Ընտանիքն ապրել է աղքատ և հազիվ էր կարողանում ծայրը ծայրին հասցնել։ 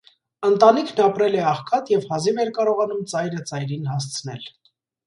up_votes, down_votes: 2, 0